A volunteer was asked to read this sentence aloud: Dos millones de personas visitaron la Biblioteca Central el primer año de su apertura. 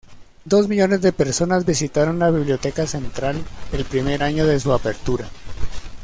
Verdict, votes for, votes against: accepted, 2, 0